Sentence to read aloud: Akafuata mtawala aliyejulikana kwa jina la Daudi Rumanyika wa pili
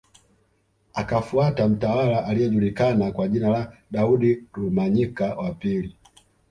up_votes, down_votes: 2, 0